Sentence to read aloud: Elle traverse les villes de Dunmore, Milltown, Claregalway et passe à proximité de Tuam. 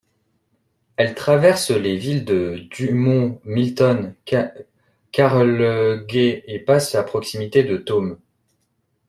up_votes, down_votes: 0, 2